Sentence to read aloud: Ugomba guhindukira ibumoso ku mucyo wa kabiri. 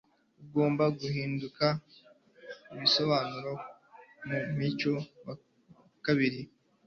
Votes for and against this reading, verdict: 1, 2, rejected